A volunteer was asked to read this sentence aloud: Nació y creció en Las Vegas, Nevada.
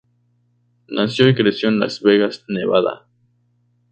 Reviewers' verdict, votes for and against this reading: rejected, 2, 2